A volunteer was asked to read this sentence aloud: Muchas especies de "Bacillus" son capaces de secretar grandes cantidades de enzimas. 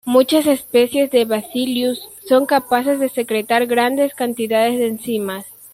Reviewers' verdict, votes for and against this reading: accepted, 2, 1